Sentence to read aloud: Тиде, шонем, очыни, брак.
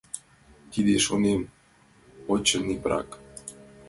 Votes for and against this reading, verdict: 2, 0, accepted